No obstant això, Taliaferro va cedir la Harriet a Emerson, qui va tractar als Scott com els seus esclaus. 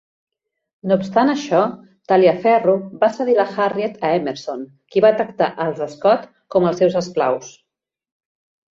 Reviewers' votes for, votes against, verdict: 2, 0, accepted